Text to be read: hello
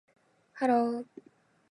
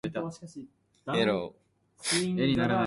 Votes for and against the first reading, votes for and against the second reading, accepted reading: 2, 0, 0, 2, first